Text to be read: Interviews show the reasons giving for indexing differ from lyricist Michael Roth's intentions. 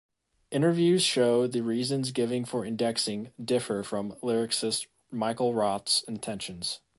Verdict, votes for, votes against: accepted, 2, 0